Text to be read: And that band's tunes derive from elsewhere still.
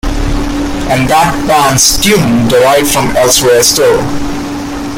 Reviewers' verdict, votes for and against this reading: accepted, 2, 0